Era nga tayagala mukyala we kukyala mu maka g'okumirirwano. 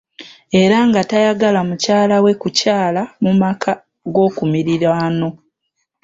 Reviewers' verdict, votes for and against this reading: accepted, 2, 0